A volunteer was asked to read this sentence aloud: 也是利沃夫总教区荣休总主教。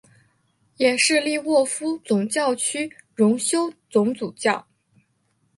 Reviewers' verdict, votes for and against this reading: accepted, 2, 0